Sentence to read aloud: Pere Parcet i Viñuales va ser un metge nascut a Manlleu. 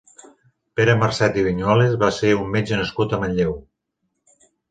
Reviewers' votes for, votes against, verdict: 1, 2, rejected